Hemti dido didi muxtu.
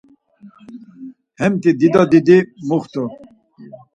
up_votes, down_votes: 4, 2